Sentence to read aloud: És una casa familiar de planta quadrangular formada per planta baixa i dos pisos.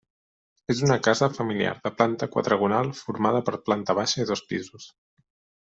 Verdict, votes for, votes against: rejected, 0, 2